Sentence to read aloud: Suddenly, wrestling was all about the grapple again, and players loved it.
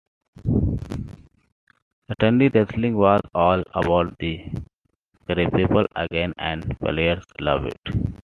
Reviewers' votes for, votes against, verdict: 2, 0, accepted